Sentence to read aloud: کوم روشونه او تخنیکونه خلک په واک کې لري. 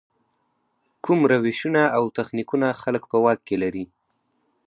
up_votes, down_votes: 4, 0